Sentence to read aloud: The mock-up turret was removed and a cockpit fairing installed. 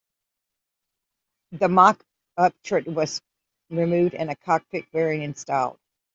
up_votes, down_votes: 2, 1